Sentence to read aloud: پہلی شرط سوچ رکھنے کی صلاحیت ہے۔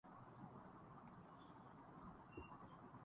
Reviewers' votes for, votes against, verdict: 0, 14, rejected